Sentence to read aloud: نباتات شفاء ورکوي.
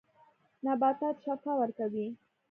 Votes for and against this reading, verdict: 2, 0, accepted